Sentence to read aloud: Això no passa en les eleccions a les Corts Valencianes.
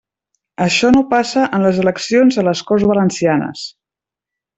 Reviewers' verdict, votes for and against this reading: accepted, 3, 0